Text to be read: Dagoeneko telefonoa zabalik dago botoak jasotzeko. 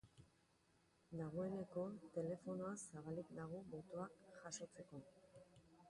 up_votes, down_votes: 0, 2